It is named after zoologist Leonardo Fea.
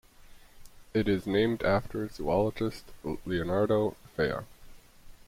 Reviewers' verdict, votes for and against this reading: rejected, 1, 2